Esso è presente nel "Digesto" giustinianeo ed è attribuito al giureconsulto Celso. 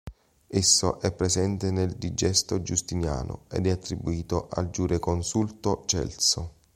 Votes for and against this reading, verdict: 0, 2, rejected